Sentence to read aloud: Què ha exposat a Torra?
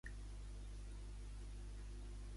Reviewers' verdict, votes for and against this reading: rejected, 0, 2